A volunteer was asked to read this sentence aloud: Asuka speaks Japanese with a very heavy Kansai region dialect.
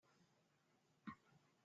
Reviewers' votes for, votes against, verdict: 0, 2, rejected